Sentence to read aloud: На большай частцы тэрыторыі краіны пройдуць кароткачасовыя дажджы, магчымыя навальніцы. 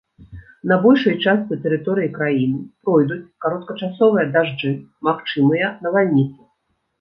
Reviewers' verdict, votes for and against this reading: accepted, 2, 0